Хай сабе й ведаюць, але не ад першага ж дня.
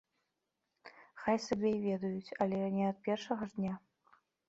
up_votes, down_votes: 2, 0